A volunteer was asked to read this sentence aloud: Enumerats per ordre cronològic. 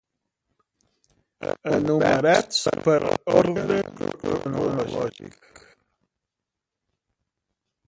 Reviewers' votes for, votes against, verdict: 0, 2, rejected